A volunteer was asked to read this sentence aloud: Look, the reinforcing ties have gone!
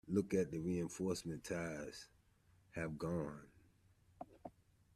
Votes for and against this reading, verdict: 0, 2, rejected